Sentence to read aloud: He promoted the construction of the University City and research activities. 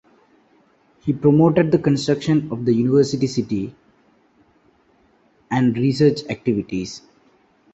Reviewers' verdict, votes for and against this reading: accepted, 2, 0